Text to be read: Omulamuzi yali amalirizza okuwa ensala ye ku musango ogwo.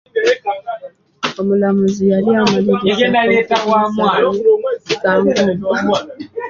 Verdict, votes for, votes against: accepted, 2, 1